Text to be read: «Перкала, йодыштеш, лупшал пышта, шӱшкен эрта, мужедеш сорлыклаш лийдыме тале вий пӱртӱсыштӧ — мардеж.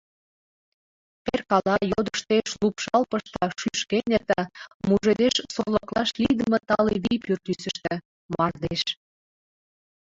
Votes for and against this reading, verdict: 2, 1, accepted